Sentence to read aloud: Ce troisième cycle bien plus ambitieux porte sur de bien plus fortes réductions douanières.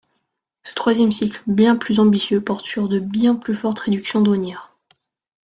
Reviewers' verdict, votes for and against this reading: accepted, 2, 0